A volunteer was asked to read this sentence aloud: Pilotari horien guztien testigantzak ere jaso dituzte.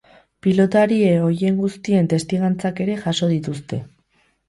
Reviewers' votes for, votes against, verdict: 0, 2, rejected